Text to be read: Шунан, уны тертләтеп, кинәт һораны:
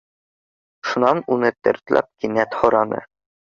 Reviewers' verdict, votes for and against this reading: rejected, 0, 2